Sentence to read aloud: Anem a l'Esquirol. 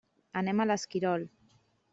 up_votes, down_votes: 3, 0